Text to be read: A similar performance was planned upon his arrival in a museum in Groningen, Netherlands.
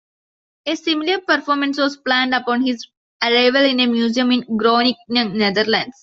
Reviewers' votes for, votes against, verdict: 2, 1, accepted